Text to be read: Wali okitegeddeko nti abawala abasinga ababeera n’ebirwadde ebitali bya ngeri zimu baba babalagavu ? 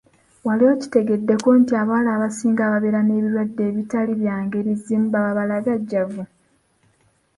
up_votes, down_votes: 2, 0